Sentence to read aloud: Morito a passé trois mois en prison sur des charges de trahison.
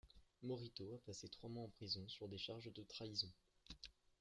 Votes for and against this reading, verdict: 1, 2, rejected